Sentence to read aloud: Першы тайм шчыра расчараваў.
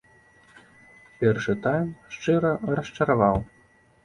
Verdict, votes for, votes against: accepted, 2, 0